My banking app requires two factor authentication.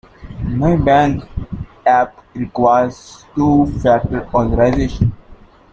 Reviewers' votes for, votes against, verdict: 0, 2, rejected